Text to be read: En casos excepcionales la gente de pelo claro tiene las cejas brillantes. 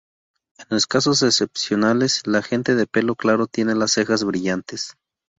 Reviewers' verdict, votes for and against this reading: rejected, 0, 2